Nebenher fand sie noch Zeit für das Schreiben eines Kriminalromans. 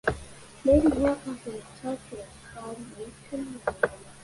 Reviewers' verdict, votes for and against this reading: rejected, 0, 2